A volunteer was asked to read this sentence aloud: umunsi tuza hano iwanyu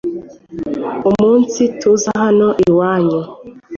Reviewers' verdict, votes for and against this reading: accepted, 2, 0